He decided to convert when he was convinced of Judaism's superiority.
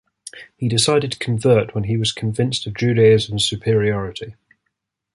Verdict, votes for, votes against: accepted, 2, 0